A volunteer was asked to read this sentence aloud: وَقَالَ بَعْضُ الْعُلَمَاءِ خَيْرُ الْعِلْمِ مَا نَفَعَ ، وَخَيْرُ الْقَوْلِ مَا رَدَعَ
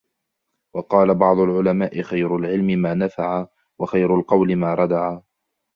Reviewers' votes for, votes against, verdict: 2, 0, accepted